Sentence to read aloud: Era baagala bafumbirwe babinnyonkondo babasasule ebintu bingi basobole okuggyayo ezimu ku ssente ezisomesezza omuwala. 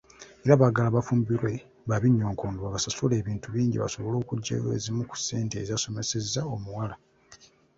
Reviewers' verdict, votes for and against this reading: rejected, 0, 2